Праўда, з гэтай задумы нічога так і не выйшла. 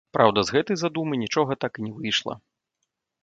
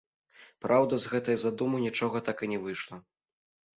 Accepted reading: second